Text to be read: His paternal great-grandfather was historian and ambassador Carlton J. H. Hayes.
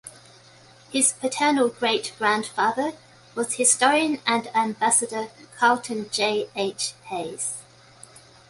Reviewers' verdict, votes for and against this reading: accepted, 2, 0